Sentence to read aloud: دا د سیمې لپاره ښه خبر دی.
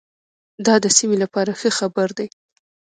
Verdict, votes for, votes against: rejected, 1, 2